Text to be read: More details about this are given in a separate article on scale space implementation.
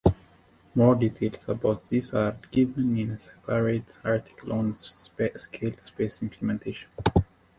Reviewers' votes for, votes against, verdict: 1, 2, rejected